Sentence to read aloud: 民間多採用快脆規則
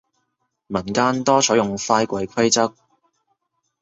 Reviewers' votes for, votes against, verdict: 1, 2, rejected